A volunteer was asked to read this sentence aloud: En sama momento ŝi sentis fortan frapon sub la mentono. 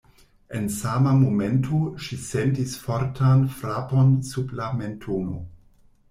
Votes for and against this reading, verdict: 2, 0, accepted